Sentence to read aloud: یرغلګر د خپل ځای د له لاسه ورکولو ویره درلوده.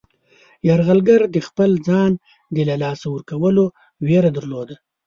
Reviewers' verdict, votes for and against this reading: rejected, 1, 2